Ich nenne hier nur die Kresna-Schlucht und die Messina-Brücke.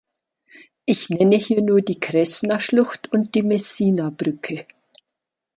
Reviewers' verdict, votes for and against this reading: accepted, 3, 0